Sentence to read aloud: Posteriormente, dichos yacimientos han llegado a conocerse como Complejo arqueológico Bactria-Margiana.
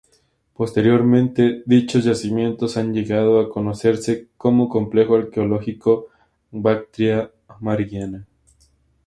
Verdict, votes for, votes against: accepted, 2, 0